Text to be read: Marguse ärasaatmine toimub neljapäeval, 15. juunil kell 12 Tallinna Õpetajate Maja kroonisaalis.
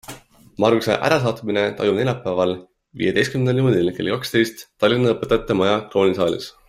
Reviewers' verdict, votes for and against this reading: rejected, 0, 2